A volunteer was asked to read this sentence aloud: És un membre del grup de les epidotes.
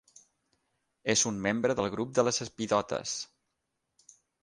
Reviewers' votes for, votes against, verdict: 3, 6, rejected